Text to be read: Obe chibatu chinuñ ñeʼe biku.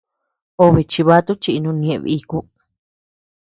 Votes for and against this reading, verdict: 1, 2, rejected